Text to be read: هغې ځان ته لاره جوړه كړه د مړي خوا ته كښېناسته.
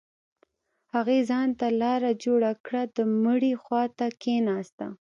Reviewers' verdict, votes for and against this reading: accepted, 2, 0